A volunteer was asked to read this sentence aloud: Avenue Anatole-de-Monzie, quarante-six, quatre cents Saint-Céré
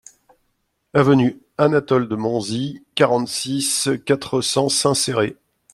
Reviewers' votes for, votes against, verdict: 2, 0, accepted